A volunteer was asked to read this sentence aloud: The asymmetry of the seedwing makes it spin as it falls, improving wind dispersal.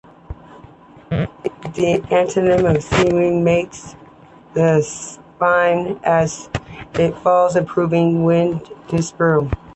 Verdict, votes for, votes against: accepted, 2, 1